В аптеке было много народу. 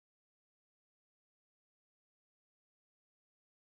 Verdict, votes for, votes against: rejected, 0, 14